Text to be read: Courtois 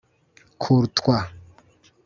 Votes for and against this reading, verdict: 1, 2, rejected